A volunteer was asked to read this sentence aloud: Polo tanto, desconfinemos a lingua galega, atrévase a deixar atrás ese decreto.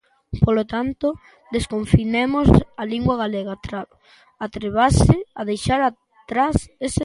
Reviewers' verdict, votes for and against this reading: rejected, 0, 3